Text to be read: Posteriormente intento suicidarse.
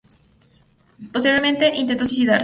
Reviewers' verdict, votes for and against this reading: rejected, 0, 4